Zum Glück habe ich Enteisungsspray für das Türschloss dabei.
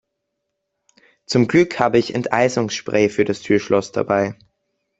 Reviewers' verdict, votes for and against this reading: accepted, 2, 0